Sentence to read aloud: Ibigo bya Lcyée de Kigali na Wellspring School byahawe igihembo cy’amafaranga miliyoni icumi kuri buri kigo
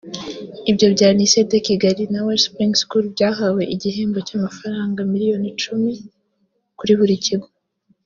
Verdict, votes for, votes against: rejected, 1, 2